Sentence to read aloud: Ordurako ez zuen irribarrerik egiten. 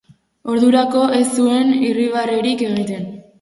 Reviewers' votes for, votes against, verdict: 8, 0, accepted